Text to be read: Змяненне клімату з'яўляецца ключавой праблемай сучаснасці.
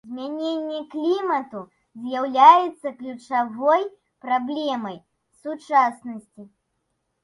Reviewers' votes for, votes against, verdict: 2, 0, accepted